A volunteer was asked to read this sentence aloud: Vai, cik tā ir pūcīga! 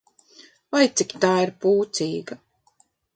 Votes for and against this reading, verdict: 2, 0, accepted